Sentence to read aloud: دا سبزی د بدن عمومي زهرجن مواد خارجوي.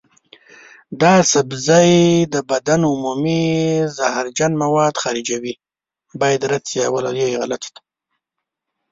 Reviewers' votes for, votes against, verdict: 0, 2, rejected